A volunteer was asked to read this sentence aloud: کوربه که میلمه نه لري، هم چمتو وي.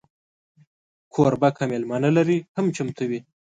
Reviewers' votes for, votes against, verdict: 2, 0, accepted